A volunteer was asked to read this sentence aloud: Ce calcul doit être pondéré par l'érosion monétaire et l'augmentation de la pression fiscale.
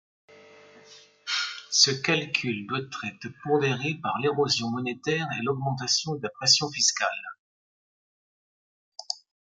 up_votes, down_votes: 1, 2